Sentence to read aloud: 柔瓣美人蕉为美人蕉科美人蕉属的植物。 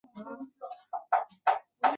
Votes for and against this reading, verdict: 0, 2, rejected